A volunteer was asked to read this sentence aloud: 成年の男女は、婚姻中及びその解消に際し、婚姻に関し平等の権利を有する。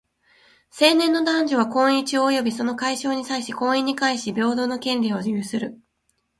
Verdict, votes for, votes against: accepted, 2, 0